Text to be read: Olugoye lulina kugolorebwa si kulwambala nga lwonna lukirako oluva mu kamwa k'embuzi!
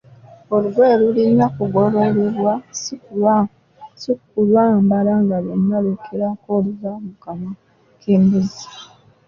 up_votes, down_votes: 0, 2